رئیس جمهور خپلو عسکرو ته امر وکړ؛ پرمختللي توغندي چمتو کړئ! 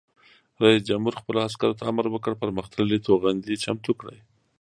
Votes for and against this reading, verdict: 1, 2, rejected